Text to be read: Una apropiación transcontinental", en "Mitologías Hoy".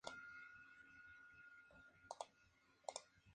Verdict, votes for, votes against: accepted, 2, 0